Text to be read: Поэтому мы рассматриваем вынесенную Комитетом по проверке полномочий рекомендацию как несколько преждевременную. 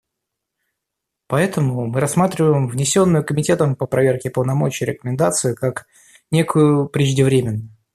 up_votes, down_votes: 0, 2